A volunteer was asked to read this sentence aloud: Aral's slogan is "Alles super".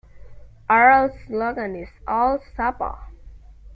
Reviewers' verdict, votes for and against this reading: rejected, 1, 2